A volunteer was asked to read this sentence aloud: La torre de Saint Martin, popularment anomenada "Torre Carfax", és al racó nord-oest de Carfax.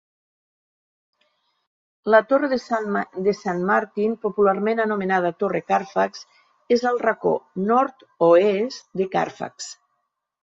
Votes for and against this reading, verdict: 0, 3, rejected